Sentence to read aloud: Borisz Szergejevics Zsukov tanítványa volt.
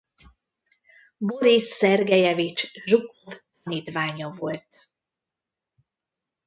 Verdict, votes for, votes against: rejected, 0, 2